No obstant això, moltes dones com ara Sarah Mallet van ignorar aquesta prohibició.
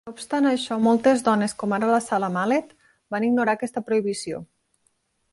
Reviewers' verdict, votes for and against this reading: accepted, 2, 0